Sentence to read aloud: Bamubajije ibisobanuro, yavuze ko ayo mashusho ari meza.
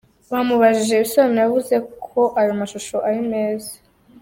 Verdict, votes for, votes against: rejected, 1, 2